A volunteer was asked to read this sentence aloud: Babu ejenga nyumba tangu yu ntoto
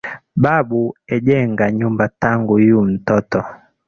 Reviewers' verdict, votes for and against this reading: accepted, 2, 1